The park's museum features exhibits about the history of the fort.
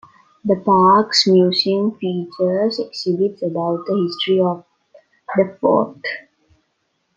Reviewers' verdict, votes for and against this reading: accepted, 2, 0